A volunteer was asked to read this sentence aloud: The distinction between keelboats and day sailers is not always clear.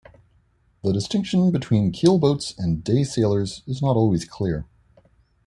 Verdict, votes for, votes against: accepted, 2, 1